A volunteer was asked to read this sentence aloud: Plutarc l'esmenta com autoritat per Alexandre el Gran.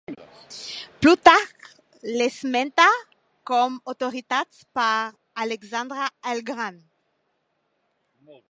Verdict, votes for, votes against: rejected, 1, 2